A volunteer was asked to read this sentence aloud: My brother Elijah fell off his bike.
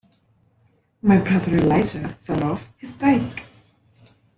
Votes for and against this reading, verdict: 1, 2, rejected